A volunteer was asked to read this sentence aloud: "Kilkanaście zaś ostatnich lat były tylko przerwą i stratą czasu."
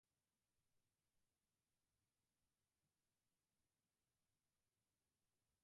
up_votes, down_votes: 0, 4